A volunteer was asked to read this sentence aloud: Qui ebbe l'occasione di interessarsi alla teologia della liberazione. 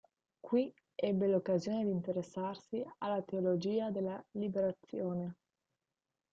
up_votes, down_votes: 1, 2